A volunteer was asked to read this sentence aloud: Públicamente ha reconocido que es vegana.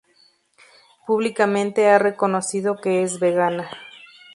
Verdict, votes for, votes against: accepted, 2, 0